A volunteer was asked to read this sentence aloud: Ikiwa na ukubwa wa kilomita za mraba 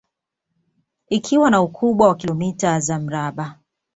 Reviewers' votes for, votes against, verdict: 2, 1, accepted